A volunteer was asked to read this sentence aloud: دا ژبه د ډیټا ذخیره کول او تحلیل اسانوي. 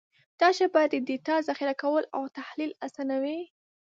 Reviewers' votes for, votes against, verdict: 2, 0, accepted